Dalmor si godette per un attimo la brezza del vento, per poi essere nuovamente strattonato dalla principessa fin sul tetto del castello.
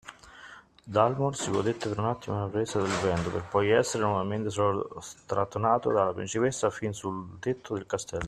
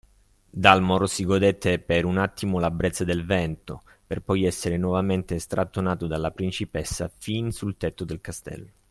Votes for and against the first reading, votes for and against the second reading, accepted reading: 1, 2, 2, 1, second